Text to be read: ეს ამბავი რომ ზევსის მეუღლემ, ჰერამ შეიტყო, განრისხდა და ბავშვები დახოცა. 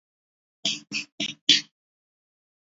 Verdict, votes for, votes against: rejected, 0, 2